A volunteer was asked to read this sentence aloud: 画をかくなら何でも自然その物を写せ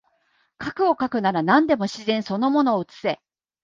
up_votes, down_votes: 2, 0